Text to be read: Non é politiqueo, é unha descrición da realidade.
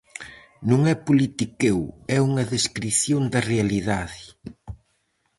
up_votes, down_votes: 4, 0